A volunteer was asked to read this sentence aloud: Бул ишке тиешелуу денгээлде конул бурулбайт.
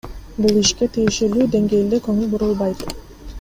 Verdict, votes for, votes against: accepted, 2, 1